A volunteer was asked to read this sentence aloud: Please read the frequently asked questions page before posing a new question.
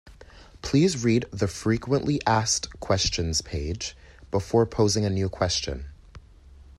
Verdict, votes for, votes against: accepted, 2, 0